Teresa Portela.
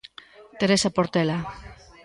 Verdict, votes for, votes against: rejected, 0, 2